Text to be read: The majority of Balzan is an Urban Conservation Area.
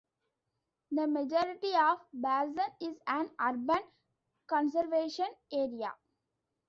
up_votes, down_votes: 2, 0